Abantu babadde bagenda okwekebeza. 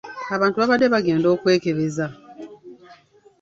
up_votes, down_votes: 2, 0